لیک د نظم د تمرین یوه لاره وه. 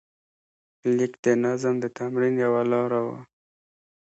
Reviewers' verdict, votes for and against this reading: accepted, 2, 0